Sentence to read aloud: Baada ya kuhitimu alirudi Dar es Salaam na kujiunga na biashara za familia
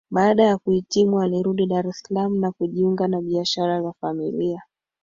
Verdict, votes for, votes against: accepted, 4, 2